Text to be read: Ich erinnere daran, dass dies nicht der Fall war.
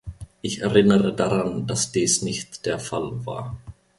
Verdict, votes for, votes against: accepted, 2, 0